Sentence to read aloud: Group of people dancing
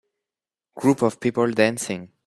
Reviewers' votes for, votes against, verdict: 2, 0, accepted